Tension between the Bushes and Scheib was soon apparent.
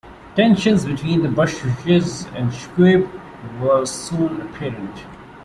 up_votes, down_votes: 0, 2